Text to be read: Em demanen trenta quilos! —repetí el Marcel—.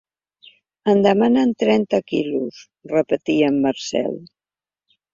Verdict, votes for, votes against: rejected, 0, 2